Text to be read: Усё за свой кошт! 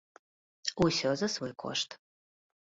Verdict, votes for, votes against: accepted, 2, 0